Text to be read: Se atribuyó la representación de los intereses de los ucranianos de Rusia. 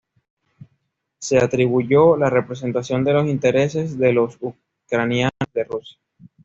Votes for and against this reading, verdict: 1, 3, rejected